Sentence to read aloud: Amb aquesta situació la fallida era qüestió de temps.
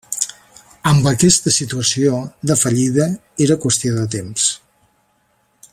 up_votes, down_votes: 1, 2